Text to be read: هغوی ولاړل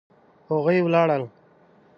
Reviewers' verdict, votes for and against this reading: accepted, 2, 0